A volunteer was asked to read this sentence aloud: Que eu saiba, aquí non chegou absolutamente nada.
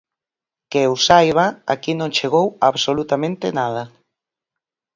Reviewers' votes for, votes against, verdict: 4, 0, accepted